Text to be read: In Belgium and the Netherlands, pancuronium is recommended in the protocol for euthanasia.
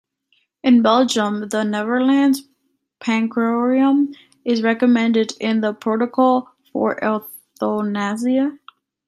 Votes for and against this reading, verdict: 1, 2, rejected